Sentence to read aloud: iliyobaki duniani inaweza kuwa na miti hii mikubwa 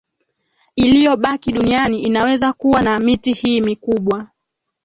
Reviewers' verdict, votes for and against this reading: rejected, 1, 2